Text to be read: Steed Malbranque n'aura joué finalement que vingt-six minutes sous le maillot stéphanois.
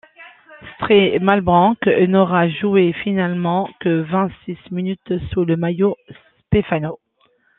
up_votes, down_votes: 0, 2